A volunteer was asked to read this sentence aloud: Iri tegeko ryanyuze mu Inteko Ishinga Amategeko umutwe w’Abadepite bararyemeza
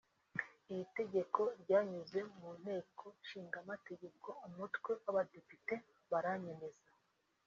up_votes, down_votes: 1, 2